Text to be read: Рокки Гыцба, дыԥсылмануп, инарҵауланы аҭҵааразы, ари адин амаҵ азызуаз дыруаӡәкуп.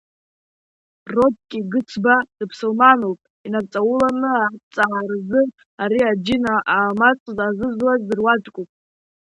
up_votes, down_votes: 1, 2